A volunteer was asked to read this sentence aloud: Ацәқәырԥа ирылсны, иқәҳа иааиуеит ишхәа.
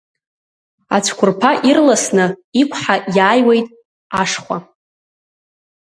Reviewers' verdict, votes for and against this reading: rejected, 0, 2